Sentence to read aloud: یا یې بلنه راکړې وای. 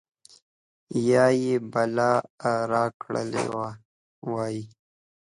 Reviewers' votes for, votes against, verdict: 1, 2, rejected